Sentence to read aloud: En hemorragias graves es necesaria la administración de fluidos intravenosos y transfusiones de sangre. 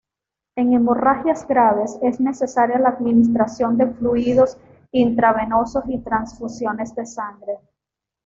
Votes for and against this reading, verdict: 2, 0, accepted